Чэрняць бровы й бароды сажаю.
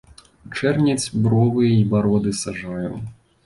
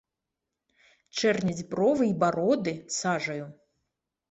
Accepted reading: second